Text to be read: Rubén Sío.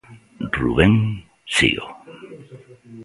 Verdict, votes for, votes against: accepted, 2, 0